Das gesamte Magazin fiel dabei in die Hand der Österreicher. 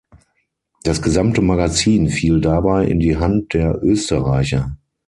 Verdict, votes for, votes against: accepted, 6, 0